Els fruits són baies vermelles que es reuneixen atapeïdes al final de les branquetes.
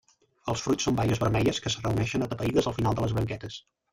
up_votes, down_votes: 0, 2